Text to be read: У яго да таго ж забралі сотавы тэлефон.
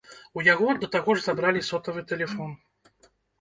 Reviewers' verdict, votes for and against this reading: accepted, 2, 0